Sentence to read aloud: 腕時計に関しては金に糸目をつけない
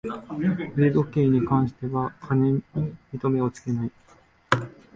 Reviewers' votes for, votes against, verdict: 0, 2, rejected